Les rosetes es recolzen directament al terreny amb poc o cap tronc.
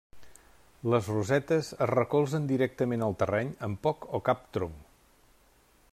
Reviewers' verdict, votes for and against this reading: accepted, 2, 0